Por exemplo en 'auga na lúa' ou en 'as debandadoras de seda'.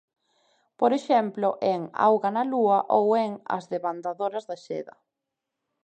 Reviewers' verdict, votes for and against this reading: accepted, 2, 1